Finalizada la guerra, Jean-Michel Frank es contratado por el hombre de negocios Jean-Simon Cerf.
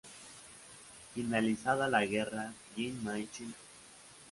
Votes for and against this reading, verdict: 0, 2, rejected